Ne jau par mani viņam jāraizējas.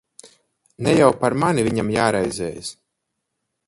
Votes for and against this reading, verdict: 2, 4, rejected